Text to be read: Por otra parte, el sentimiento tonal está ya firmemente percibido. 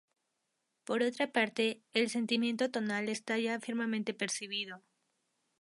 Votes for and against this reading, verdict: 2, 2, rejected